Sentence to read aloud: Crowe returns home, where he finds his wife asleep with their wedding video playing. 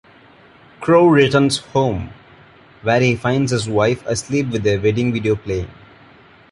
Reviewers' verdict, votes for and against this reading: accepted, 2, 0